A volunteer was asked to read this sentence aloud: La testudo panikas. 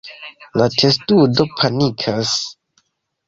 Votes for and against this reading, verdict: 2, 0, accepted